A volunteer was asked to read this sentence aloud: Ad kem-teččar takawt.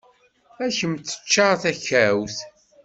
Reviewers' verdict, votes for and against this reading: accepted, 2, 0